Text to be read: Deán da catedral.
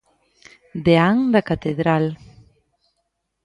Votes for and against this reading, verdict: 2, 0, accepted